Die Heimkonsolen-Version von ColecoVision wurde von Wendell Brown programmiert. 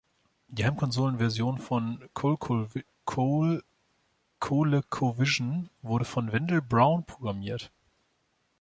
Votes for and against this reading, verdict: 0, 2, rejected